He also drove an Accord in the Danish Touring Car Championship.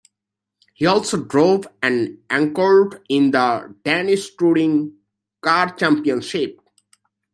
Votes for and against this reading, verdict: 0, 2, rejected